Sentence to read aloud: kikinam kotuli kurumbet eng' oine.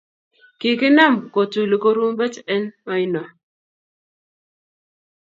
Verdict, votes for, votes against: accepted, 2, 0